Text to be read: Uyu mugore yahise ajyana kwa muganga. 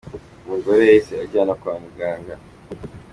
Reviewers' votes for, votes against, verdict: 2, 1, accepted